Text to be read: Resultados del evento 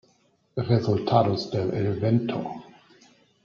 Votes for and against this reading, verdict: 0, 2, rejected